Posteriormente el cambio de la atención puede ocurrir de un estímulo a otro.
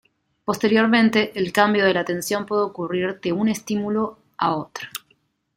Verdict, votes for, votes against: accepted, 2, 0